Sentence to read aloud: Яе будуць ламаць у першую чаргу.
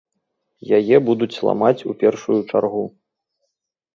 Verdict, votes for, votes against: accepted, 3, 0